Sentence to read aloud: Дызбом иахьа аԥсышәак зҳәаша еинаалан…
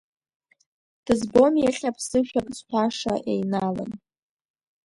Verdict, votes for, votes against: rejected, 0, 2